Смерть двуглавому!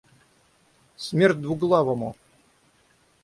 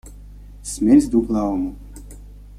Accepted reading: first